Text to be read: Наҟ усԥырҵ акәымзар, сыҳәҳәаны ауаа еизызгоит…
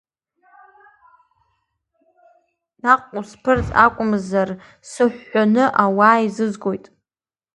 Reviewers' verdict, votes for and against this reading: rejected, 1, 2